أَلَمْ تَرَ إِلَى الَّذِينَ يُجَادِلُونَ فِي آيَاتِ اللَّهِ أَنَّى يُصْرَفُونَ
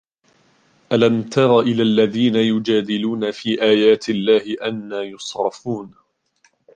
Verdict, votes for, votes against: accepted, 2, 0